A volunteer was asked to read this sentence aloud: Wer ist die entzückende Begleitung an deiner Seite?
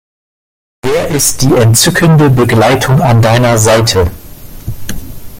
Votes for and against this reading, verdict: 2, 0, accepted